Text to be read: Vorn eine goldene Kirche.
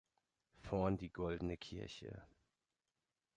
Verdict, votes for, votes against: rejected, 0, 2